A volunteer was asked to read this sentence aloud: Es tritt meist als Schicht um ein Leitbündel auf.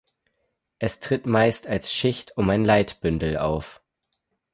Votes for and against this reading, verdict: 4, 0, accepted